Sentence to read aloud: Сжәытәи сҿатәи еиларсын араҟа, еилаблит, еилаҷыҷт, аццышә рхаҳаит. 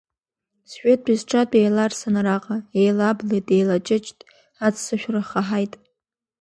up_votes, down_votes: 2, 1